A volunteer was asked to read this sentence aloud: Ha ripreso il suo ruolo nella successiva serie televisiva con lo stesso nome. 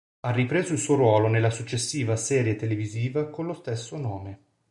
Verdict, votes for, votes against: accepted, 3, 0